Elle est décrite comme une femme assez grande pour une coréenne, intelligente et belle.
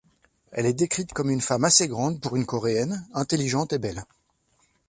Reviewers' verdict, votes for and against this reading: accepted, 2, 0